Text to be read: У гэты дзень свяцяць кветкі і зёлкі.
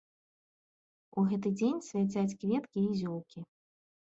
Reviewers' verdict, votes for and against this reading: accepted, 2, 0